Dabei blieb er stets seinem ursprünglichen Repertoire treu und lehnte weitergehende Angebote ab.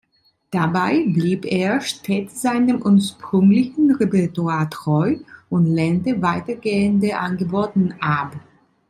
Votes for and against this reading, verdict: 2, 3, rejected